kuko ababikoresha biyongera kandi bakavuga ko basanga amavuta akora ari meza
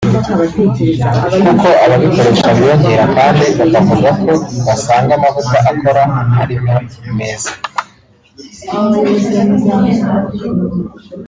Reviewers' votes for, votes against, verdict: 1, 2, rejected